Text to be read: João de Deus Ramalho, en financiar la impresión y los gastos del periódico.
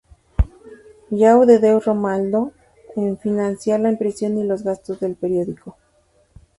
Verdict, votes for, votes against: rejected, 0, 2